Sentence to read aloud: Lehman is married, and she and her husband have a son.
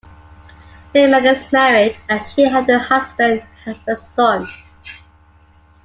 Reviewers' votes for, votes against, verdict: 2, 1, accepted